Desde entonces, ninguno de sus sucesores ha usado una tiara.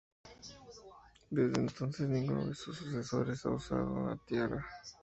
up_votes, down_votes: 0, 2